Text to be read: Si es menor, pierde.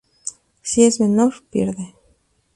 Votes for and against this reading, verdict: 2, 0, accepted